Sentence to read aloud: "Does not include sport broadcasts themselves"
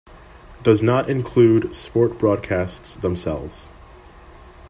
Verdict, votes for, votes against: rejected, 1, 2